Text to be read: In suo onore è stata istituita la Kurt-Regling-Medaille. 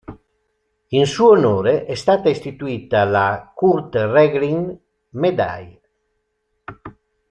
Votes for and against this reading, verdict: 2, 0, accepted